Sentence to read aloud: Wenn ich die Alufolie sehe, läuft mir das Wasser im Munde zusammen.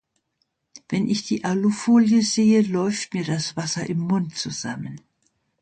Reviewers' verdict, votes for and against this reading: rejected, 0, 2